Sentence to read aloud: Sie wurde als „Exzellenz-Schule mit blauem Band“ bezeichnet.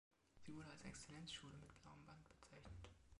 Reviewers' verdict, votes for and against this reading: rejected, 0, 2